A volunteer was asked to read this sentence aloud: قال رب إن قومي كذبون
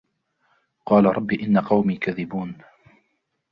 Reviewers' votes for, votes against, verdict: 2, 0, accepted